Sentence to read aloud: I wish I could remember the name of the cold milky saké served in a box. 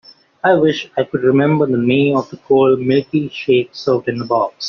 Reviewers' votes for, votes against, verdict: 1, 2, rejected